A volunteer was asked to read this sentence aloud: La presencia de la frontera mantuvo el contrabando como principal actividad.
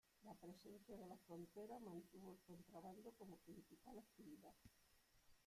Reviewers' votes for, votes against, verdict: 0, 2, rejected